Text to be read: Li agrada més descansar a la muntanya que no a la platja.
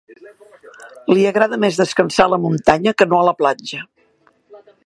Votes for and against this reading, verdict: 2, 3, rejected